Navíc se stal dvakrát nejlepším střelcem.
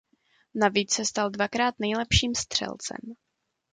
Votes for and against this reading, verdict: 2, 0, accepted